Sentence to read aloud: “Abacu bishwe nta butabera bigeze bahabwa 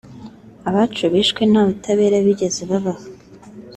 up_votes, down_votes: 1, 2